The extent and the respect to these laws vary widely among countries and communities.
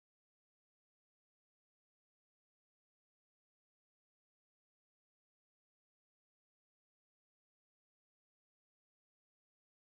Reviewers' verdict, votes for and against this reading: rejected, 0, 2